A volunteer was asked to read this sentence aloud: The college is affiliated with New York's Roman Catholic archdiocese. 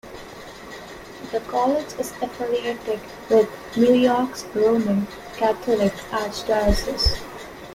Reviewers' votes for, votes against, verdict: 2, 0, accepted